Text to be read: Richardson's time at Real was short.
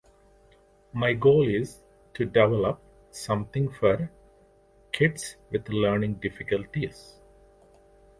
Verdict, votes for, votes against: rejected, 0, 2